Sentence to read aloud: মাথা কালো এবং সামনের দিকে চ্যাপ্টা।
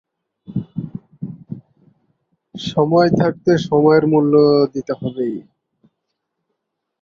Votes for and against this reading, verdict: 1, 18, rejected